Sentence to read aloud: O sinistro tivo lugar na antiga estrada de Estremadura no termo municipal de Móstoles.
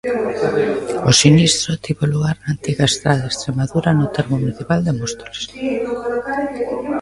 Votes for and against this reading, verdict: 1, 2, rejected